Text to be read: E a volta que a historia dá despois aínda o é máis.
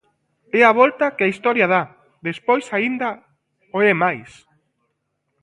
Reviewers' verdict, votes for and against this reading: accepted, 2, 0